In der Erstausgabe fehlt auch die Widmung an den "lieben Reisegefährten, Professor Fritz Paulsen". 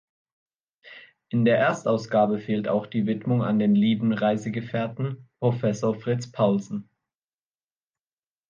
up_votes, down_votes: 2, 0